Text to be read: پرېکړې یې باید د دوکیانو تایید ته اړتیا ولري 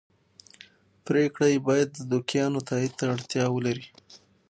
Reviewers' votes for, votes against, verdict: 6, 0, accepted